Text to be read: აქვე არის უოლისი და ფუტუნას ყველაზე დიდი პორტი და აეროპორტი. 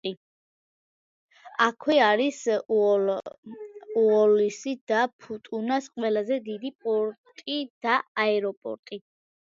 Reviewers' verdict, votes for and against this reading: rejected, 0, 2